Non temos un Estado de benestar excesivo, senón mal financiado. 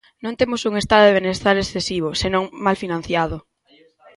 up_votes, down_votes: 2, 1